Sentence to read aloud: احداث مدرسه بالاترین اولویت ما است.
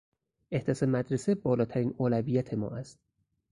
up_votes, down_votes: 2, 2